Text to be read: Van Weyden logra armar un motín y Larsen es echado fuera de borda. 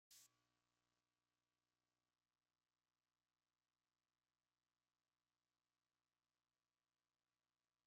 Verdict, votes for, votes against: rejected, 1, 2